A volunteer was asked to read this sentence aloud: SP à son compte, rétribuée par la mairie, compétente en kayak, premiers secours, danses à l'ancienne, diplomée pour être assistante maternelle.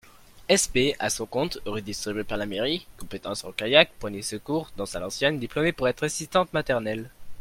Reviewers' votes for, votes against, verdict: 0, 2, rejected